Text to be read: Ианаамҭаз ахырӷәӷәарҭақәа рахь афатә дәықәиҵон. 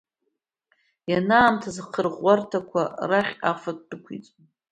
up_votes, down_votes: 2, 1